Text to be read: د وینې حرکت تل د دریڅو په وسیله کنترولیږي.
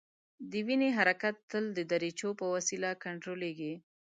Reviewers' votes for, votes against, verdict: 0, 2, rejected